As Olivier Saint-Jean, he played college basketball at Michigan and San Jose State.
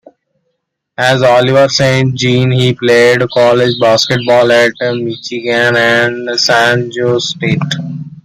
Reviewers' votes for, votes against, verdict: 1, 2, rejected